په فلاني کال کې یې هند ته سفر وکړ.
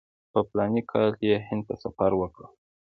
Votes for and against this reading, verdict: 2, 0, accepted